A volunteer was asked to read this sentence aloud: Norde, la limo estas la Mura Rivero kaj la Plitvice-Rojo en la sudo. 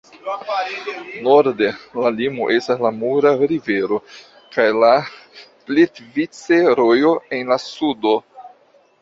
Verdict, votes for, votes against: accepted, 2, 1